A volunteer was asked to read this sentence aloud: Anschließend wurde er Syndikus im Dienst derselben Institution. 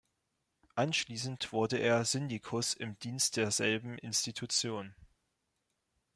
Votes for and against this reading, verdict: 2, 0, accepted